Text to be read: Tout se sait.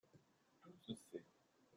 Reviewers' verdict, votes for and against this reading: rejected, 0, 2